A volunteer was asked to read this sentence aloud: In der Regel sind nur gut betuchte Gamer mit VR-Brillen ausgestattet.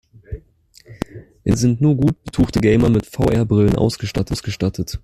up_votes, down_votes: 0, 2